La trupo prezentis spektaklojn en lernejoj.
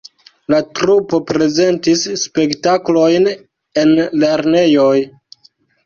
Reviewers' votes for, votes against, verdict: 2, 0, accepted